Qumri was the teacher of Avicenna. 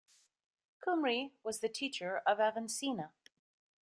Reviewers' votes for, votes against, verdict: 0, 2, rejected